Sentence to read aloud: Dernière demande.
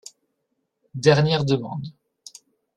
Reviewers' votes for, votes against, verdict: 2, 0, accepted